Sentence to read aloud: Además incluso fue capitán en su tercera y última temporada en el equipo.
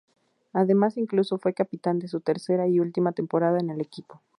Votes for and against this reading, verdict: 2, 0, accepted